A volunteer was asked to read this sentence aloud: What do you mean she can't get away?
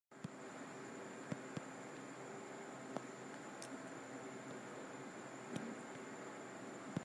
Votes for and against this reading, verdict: 0, 2, rejected